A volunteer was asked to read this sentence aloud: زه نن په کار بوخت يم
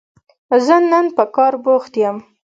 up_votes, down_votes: 2, 0